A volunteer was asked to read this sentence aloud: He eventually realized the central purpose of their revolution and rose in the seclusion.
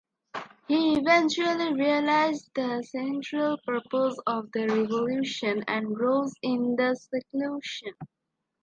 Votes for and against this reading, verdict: 2, 0, accepted